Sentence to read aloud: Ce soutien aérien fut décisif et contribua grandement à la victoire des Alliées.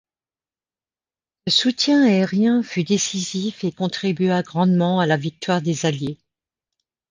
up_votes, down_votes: 1, 2